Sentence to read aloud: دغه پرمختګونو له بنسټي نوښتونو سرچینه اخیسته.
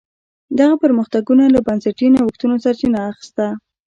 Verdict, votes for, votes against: rejected, 1, 2